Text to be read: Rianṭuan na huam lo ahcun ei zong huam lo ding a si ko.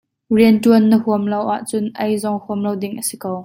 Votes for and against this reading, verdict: 2, 0, accepted